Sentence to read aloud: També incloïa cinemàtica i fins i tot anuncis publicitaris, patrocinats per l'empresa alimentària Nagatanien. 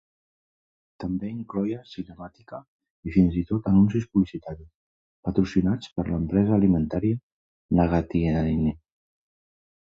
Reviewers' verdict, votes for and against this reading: rejected, 0, 2